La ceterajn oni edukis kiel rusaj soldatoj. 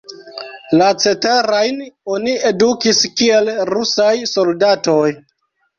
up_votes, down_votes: 1, 2